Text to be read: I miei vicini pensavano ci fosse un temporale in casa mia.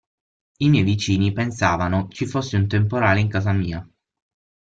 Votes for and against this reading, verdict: 6, 0, accepted